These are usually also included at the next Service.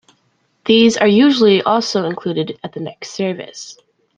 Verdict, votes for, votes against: accepted, 2, 0